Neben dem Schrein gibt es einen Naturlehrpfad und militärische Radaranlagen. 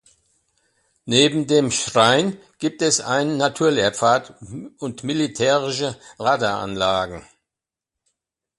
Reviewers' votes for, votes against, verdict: 2, 0, accepted